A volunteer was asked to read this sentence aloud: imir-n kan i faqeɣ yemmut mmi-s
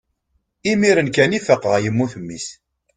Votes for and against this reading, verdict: 2, 0, accepted